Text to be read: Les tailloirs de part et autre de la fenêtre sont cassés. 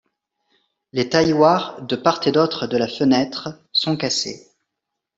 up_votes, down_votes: 0, 2